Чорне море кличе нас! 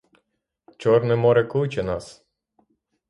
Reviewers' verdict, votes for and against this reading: rejected, 3, 3